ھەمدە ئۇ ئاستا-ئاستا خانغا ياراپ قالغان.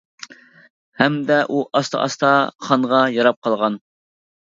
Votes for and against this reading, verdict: 2, 0, accepted